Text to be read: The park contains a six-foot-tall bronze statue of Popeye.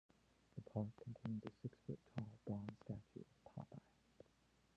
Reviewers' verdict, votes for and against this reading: rejected, 0, 2